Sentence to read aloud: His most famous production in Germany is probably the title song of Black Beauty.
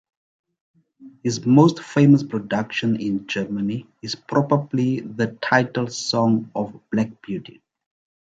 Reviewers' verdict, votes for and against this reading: accepted, 2, 0